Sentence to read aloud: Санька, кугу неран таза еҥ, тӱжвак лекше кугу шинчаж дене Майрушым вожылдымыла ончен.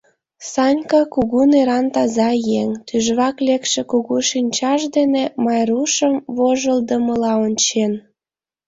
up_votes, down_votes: 2, 0